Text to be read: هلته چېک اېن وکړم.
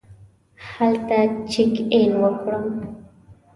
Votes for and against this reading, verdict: 2, 1, accepted